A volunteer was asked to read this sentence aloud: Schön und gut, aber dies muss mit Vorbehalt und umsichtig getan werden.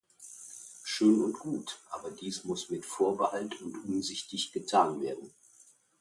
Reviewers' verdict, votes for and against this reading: accepted, 2, 0